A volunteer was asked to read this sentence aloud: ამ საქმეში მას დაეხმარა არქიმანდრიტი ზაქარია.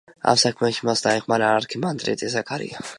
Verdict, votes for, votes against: accepted, 2, 0